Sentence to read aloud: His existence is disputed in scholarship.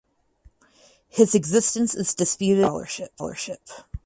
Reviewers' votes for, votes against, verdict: 2, 4, rejected